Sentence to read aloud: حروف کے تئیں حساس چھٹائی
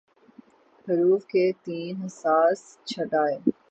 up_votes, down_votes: 0, 3